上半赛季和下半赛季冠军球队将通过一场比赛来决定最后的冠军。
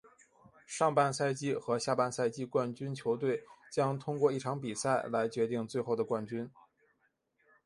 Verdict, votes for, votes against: accepted, 2, 0